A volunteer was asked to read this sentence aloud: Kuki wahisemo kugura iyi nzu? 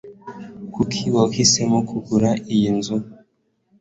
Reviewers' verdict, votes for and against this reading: accepted, 2, 0